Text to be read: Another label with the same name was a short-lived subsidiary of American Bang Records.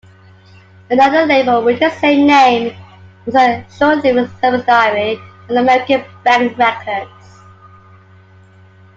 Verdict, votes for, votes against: rejected, 1, 2